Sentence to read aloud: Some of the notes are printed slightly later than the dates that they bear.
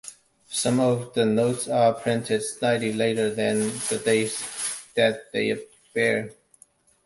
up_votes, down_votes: 1, 2